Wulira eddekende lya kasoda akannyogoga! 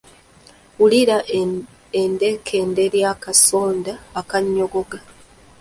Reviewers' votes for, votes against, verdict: 0, 2, rejected